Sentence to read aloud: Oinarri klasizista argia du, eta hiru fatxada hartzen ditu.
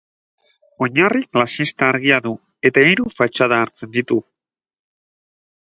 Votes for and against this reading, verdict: 2, 4, rejected